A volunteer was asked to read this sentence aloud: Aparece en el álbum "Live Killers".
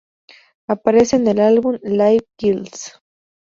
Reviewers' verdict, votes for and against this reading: accepted, 2, 0